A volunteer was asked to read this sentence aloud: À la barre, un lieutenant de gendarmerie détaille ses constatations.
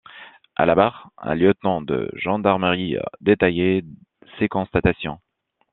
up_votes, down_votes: 0, 2